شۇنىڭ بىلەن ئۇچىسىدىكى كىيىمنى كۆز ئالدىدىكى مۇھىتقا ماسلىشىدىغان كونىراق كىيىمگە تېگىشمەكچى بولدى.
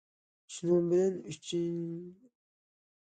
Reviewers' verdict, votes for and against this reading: rejected, 0, 2